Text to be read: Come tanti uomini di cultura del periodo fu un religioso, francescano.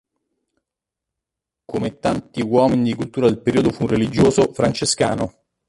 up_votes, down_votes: 0, 2